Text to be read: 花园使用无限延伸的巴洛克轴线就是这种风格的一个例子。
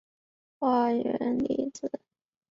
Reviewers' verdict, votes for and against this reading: rejected, 1, 2